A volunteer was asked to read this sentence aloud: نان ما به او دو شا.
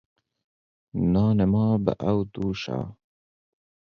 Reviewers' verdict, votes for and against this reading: rejected, 0, 4